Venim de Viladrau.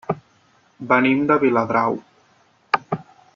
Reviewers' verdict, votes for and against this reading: accepted, 6, 0